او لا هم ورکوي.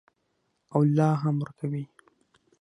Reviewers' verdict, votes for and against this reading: accepted, 6, 3